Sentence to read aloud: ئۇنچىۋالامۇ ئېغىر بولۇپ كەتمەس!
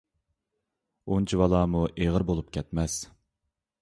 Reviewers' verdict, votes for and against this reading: accepted, 2, 0